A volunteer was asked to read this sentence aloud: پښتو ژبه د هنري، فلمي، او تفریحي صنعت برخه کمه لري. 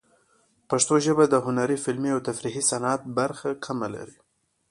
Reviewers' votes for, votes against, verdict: 2, 0, accepted